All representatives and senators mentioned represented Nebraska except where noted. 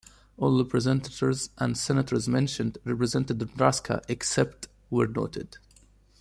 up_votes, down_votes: 2, 1